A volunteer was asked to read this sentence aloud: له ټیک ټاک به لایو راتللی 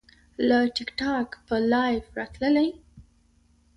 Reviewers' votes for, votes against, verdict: 2, 0, accepted